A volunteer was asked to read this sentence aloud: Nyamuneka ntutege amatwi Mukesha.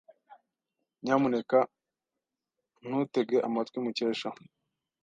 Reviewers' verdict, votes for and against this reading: accepted, 2, 0